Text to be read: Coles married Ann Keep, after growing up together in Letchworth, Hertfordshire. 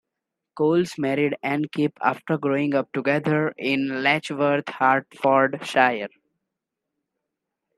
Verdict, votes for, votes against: rejected, 1, 2